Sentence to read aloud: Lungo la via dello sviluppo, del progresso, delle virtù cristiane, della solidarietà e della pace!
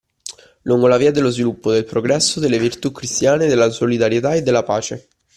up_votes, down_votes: 2, 0